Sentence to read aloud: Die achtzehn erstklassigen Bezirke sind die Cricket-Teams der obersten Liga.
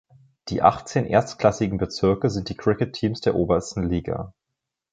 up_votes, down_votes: 3, 0